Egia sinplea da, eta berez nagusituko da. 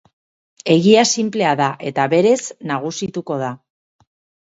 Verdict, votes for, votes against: accepted, 6, 0